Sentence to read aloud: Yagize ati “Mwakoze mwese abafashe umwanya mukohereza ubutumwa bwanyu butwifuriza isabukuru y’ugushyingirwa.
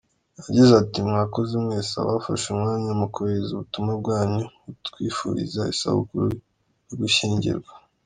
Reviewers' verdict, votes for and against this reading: accepted, 2, 0